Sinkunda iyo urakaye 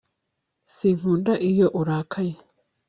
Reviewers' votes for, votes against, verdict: 2, 0, accepted